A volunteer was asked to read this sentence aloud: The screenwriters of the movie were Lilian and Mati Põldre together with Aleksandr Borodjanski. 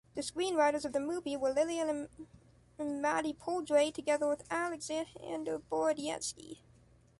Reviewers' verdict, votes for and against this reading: rejected, 1, 2